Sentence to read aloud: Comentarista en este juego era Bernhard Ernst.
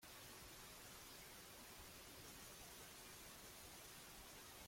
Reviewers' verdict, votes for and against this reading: rejected, 0, 2